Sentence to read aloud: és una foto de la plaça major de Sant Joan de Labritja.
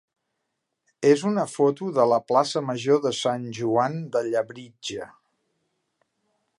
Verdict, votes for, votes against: rejected, 0, 2